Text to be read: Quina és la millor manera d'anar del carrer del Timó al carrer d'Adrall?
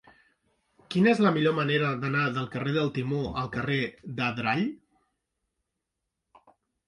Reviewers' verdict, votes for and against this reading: accepted, 2, 0